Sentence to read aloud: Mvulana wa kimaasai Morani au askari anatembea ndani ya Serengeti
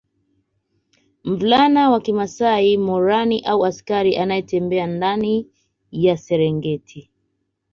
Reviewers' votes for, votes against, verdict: 0, 2, rejected